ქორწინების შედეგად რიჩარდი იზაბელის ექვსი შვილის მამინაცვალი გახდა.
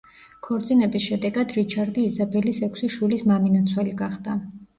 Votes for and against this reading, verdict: 2, 0, accepted